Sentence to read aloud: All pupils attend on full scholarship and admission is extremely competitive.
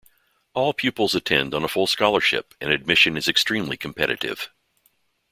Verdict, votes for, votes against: rejected, 1, 2